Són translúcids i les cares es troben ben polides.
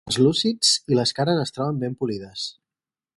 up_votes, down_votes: 0, 4